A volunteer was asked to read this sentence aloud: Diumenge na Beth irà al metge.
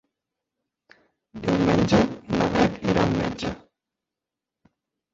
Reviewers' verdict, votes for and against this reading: rejected, 0, 2